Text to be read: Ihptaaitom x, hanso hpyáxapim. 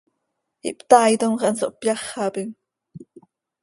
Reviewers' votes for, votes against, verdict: 2, 0, accepted